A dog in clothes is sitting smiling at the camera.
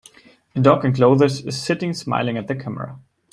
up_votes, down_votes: 1, 2